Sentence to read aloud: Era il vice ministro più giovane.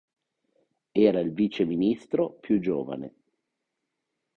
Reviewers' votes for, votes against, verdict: 4, 0, accepted